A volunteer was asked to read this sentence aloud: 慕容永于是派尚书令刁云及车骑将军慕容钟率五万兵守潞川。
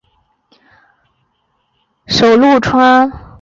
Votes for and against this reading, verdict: 0, 3, rejected